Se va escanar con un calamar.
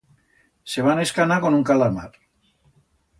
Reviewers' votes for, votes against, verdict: 1, 2, rejected